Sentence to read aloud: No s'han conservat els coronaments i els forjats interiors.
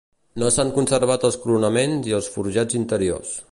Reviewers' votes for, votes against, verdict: 2, 0, accepted